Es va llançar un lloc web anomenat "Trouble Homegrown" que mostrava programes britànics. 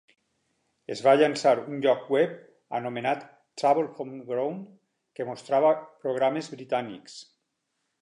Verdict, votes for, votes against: accepted, 6, 0